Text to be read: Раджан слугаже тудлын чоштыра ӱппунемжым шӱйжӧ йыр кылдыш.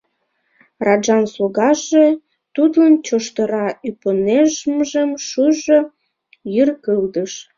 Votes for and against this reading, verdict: 1, 2, rejected